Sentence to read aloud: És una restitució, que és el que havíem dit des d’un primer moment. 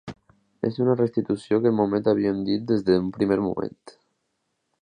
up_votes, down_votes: 2, 0